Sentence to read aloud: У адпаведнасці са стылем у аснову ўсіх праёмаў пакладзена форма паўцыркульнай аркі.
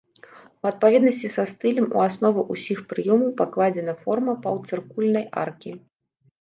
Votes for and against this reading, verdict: 1, 2, rejected